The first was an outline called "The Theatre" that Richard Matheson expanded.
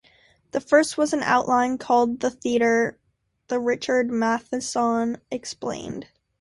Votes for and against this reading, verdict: 2, 1, accepted